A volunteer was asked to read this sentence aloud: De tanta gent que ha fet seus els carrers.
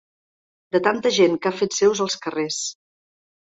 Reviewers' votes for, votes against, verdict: 3, 0, accepted